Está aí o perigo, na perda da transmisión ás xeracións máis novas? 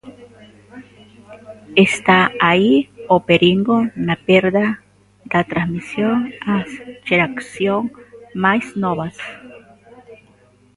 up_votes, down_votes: 0, 2